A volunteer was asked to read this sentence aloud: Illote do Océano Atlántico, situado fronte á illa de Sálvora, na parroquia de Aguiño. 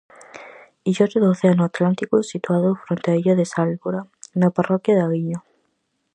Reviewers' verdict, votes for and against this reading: accepted, 4, 0